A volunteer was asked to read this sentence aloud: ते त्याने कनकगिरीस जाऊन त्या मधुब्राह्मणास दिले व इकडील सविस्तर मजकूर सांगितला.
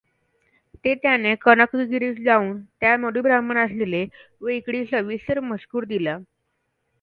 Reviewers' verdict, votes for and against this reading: rejected, 1, 2